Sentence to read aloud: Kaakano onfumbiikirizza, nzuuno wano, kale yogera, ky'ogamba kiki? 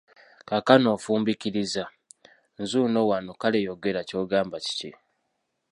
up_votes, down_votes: 1, 2